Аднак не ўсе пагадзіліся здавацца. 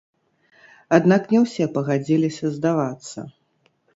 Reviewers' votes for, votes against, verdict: 1, 2, rejected